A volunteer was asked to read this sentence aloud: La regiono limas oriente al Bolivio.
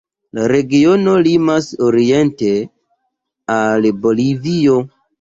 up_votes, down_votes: 0, 2